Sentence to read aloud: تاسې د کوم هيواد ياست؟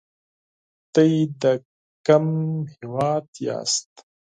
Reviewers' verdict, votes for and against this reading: rejected, 2, 4